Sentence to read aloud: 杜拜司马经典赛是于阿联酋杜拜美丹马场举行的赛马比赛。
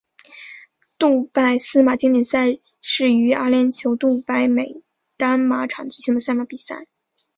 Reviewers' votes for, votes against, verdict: 2, 0, accepted